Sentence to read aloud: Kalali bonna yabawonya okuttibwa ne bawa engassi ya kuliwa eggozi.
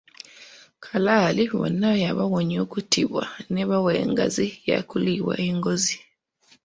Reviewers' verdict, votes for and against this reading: rejected, 1, 2